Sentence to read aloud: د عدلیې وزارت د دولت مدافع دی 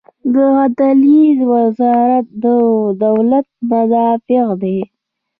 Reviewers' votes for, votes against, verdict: 0, 2, rejected